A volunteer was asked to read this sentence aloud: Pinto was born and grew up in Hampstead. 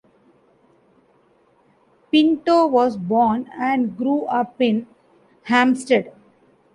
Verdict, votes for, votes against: accepted, 2, 0